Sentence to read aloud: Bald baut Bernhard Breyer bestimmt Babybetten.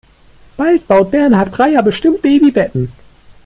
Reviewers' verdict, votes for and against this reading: accepted, 2, 0